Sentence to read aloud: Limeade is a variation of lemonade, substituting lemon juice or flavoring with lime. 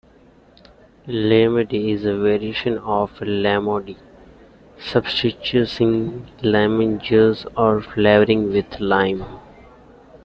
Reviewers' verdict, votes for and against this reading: rejected, 0, 2